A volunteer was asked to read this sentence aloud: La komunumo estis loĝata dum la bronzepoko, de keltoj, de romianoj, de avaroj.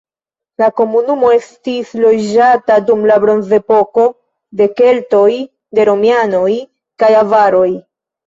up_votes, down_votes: 1, 2